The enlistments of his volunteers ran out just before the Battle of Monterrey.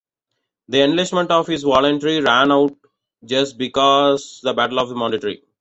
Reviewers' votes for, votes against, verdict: 0, 2, rejected